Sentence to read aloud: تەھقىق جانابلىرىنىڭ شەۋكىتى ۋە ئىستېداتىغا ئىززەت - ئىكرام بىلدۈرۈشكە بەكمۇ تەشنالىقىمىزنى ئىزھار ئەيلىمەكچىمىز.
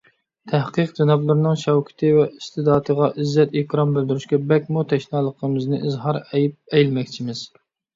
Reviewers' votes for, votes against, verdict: 0, 2, rejected